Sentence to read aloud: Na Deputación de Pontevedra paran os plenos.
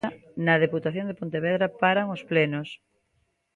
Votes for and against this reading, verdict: 2, 0, accepted